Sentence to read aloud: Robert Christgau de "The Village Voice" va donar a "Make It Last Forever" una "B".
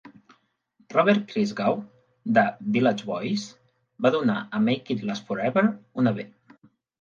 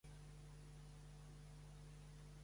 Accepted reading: first